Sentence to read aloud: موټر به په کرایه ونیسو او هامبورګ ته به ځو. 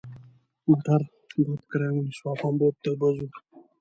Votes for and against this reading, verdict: 0, 2, rejected